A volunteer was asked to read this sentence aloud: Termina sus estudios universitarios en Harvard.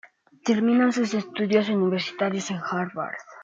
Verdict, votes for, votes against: accepted, 2, 0